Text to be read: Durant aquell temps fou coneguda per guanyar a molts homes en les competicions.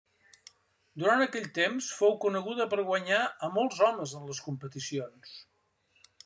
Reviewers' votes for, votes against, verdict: 3, 0, accepted